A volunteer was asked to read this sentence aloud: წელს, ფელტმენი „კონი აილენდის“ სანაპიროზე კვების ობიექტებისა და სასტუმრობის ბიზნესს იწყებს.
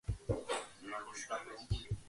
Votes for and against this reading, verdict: 0, 2, rejected